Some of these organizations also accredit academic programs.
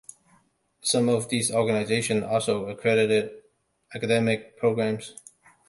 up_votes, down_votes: 1, 2